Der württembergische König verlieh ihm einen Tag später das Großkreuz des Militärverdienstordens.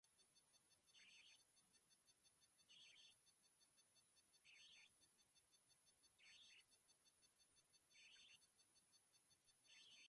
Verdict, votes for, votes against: rejected, 0, 2